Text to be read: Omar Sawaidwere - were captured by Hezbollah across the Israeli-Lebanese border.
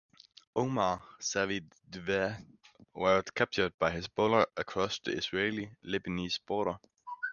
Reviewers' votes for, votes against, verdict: 1, 2, rejected